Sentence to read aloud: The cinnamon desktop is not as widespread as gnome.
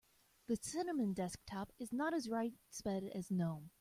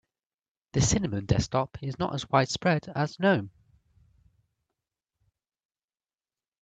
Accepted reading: second